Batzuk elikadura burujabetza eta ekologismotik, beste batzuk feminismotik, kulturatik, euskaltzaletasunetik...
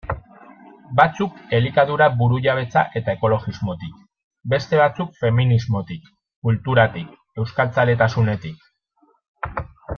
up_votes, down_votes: 2, 0